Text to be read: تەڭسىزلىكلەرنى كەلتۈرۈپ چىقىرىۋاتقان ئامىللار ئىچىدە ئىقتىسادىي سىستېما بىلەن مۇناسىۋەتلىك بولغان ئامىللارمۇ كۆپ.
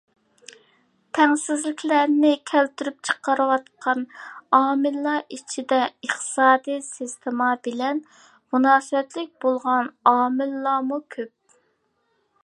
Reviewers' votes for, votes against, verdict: 2, 0, accepted